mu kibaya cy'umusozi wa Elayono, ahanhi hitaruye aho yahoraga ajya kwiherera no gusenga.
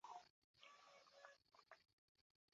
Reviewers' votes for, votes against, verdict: 0, 2, rejected